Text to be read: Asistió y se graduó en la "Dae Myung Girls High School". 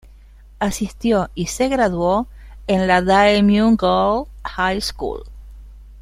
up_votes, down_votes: 0, 2